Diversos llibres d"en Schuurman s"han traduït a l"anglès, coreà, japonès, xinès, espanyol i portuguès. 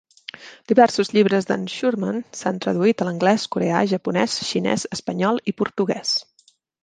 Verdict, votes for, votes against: rejected, 1, 2